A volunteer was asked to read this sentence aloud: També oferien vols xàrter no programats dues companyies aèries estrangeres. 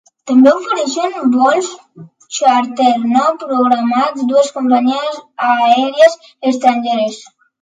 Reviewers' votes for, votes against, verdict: 0, 2, rejected